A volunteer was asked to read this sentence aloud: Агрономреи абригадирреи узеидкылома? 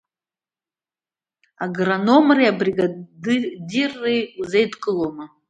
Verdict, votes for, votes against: rejected, 1, 2